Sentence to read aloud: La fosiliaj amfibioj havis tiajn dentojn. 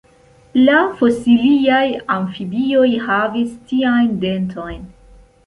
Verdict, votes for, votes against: accepted, 2, 0